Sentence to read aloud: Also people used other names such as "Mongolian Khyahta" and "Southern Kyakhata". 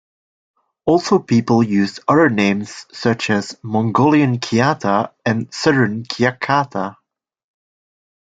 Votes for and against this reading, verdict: 1, 2, rejected